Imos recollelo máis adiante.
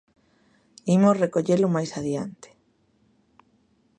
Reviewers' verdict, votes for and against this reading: accepted, 2, 0